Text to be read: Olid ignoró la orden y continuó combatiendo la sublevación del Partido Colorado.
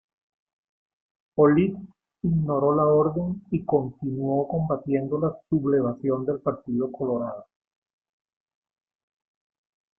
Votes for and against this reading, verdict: 1, 2, rejected